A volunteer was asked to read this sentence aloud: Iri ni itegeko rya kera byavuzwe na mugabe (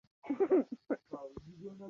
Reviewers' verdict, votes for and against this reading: rejected, 0, 2